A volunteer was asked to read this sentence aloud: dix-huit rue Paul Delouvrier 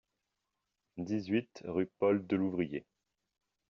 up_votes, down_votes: 2, 0